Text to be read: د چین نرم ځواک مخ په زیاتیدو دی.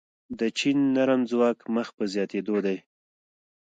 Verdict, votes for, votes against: accepted, 2, 0